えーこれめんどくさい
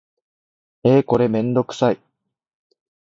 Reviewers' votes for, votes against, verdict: 2, 0, accepted